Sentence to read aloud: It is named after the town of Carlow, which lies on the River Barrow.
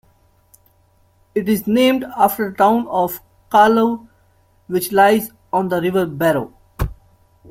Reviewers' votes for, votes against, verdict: 1, 2, rejected